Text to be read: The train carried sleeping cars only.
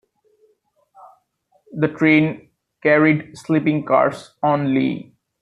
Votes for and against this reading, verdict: 2, 0, accepted